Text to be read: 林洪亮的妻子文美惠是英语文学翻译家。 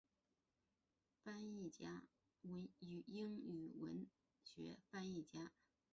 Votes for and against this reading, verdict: 1, 4, rejected